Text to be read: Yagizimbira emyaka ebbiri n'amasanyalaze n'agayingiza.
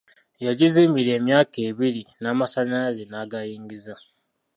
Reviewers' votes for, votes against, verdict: 2, 0, accepted